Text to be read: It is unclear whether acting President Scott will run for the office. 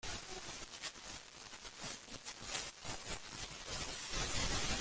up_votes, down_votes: 0, 2